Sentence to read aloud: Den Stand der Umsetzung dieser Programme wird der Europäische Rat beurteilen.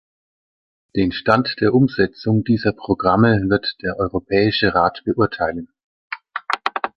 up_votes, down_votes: 2, 0